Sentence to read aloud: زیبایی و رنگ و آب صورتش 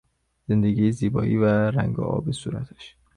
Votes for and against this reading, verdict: 0, 2, rejected